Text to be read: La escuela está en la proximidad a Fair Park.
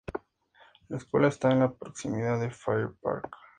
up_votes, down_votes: 2, 0